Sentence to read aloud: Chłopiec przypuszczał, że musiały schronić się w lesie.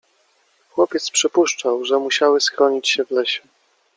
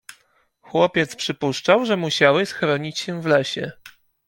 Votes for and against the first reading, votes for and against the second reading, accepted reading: 1, 2, 2, 0, second